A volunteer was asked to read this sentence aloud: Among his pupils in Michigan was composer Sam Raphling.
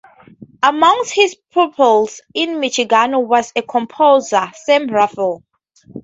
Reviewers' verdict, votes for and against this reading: rejected, 0, 2